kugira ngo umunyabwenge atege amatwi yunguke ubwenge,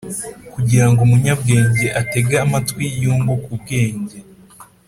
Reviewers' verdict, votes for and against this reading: accepted, 4, 0